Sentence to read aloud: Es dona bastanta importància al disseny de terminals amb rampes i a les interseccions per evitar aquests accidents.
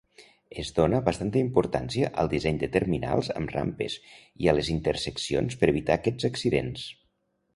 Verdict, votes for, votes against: accepted, 2, 0